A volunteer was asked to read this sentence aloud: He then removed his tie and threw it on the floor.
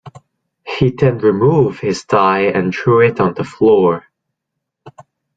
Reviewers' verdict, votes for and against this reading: rejected, 0, 2